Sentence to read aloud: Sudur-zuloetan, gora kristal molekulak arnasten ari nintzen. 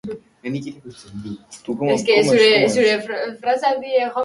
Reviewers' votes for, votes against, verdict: 0, 3, rejected